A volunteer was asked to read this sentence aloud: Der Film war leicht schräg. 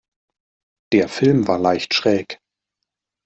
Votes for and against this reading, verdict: 2, 0, accepted